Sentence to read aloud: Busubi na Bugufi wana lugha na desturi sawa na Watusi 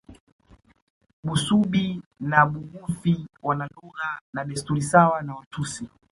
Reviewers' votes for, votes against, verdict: 2, 0, accepted